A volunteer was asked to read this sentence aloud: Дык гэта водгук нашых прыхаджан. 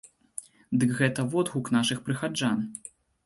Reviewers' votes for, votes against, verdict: 4, 0, accepted